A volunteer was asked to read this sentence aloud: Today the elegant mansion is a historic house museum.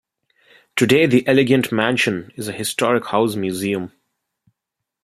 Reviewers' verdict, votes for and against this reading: accepted, 2, 0